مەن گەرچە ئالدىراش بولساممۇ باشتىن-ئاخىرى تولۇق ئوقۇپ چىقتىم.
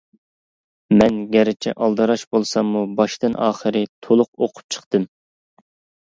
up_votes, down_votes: 2, 0